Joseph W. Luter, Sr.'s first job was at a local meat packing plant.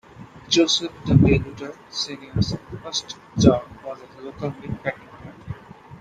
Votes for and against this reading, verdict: 2, 1, accepted